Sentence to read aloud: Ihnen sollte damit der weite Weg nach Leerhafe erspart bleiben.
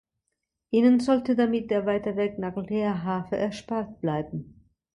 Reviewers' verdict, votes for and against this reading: accepted, 2, 0